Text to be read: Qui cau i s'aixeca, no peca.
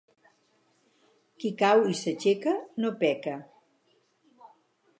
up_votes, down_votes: 4, 0